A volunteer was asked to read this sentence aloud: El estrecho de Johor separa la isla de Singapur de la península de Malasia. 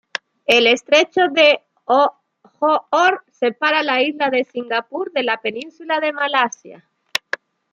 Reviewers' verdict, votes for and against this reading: rejected, 1, 2